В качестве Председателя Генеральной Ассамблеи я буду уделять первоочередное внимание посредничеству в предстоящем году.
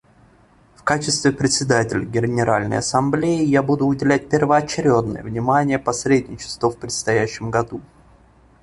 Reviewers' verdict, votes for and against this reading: rejected, 1, 2